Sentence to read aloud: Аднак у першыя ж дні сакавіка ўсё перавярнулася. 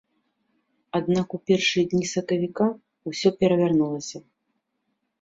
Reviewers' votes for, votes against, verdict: 0, 2, rejected